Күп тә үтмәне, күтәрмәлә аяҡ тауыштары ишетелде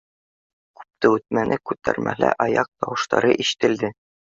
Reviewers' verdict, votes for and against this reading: accepted, 2, 0